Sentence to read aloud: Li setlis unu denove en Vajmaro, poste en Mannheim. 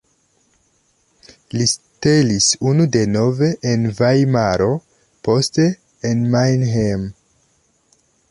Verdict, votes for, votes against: rejected, 0, 3